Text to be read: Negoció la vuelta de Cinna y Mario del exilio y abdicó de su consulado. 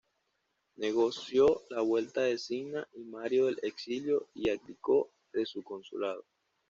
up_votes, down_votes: 2, 0